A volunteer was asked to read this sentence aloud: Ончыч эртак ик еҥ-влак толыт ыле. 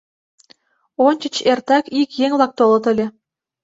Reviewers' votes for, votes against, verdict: 2, 0, accepted